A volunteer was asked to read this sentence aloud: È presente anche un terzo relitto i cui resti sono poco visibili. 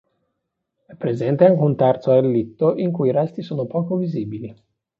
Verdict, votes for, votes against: accepted, 2, 0